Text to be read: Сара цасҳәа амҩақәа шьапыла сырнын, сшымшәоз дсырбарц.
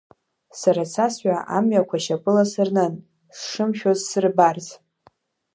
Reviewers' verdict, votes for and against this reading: accepted, 2, 1